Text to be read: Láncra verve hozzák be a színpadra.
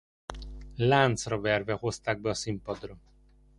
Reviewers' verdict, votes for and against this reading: rejected, 0, 2